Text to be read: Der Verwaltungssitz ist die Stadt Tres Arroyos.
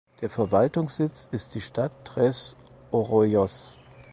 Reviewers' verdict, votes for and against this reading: rejected, 0, 4